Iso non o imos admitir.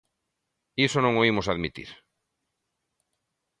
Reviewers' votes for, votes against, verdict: 2, 0, accepted